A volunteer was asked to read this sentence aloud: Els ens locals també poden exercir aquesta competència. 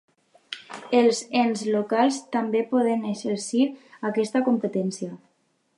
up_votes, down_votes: 3, 0